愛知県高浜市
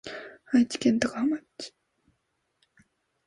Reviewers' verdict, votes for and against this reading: rejected, 1, 2